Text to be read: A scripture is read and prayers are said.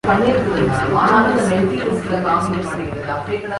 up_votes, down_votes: 0, 2